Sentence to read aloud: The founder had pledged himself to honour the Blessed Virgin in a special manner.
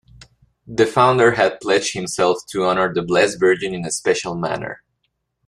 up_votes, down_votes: 1, 2